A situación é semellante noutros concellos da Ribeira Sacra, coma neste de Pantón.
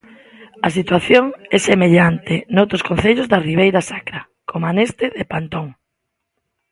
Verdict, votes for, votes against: accepted, 2, 0